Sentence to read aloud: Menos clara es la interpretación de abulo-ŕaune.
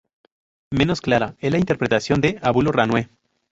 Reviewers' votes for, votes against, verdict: 0, 2, rejected